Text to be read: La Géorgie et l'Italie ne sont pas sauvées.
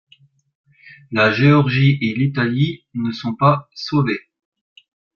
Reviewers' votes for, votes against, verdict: 1, 2, rejected